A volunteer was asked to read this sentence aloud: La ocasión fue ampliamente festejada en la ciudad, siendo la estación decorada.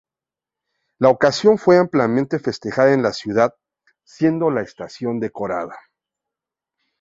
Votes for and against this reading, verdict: 2, 0, accepted